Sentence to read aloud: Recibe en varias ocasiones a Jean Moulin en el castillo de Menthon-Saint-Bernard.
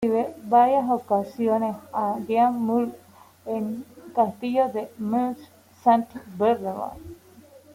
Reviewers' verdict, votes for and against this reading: rejected, 0, 2